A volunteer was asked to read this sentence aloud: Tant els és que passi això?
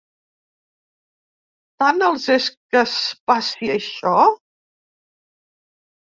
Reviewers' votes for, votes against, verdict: 2, 4, rejected